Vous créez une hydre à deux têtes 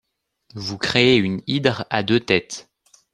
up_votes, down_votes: 2, 0